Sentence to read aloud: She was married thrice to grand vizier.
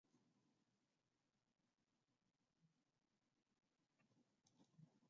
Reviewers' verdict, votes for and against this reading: rejected, 0, 2